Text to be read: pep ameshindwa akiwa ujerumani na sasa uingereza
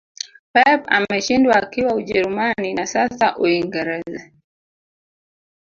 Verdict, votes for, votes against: accepted, 2, 0